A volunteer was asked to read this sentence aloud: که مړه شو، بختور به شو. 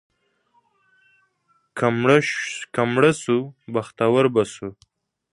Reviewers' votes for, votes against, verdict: 1, 2, rejected